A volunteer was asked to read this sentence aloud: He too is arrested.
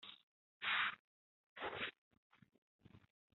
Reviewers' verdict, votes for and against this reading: rejected, 1, 2